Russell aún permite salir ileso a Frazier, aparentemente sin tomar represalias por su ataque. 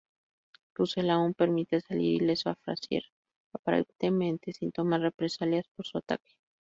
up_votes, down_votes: 0, 2